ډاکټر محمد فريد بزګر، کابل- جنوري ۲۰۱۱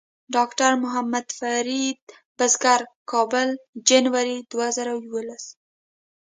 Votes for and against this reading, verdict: 0, 2, rejected